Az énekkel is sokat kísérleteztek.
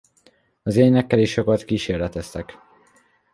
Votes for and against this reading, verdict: 2, 1, accepted